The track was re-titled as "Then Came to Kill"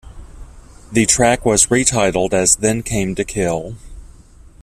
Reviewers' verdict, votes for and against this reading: accepted, 2, 0